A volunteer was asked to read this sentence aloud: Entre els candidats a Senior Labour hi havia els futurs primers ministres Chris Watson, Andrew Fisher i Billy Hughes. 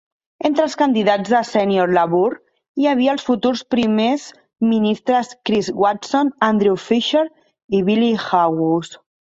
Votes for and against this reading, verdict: 1, 2, rejected